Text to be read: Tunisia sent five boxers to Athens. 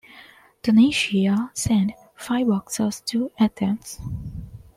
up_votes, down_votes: 2, 1